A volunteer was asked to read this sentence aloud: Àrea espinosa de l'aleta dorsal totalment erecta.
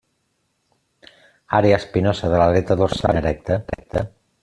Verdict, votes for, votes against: rejected, 0, 2